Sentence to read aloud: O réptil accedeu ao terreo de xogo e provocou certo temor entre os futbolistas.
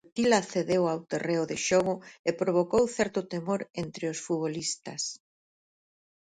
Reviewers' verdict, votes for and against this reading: rejected, 0, 4